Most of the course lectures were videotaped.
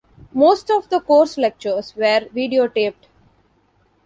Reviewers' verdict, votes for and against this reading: accepted, 2, 0